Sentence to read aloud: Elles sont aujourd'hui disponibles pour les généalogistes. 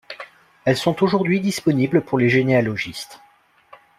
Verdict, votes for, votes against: accepted, 2, 0